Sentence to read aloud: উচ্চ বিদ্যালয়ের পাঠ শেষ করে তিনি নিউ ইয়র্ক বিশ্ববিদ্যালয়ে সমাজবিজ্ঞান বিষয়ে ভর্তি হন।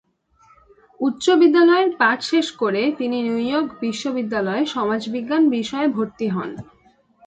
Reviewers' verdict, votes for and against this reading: accepted, 2, 0